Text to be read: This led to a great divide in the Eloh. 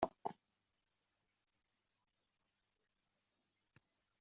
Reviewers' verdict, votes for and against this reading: rejected, 0, 2